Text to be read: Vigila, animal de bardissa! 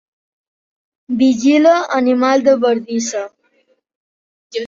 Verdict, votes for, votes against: rejected, 0, 2